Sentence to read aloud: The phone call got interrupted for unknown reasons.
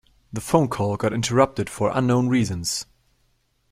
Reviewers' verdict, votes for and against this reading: accepted, 2, 0